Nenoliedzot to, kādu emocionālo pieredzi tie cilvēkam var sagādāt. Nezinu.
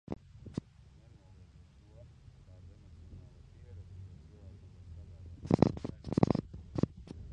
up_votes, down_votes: 0, 2